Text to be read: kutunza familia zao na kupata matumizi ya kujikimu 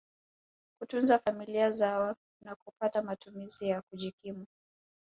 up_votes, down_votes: 2, 0